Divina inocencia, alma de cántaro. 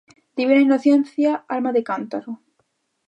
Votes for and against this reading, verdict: 1, 2, rejected